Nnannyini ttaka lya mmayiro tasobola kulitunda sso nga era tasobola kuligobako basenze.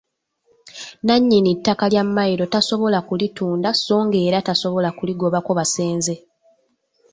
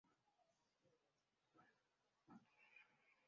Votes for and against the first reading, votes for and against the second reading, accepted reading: 2, 0, 0, 2, first